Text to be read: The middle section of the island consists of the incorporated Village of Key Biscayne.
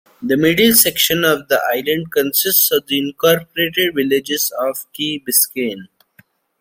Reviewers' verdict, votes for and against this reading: accepted, 2, 1